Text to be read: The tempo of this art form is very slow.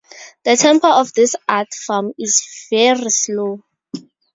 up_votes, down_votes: 4, 0